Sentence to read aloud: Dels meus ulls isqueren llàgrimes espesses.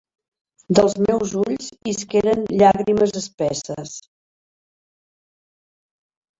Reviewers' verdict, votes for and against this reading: accepted, 2, 0